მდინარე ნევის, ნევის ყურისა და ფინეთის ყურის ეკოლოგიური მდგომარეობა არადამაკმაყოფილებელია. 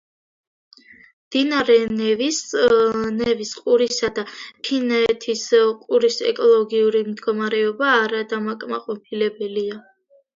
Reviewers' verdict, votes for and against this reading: rejected, 1, 2